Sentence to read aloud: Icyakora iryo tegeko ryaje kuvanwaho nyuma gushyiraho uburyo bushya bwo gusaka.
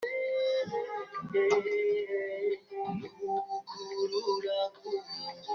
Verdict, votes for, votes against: rejected, 0, 2